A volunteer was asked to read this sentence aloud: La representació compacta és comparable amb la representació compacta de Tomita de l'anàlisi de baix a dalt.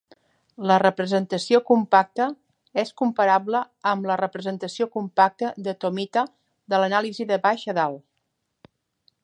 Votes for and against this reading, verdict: 2, 0, accepted